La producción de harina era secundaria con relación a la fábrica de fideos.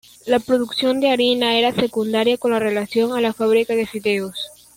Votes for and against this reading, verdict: 1, 2, rejected